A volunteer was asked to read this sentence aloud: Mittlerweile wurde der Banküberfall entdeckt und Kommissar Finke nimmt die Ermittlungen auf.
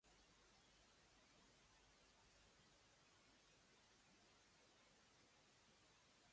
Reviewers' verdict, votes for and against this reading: rejected, 0, 2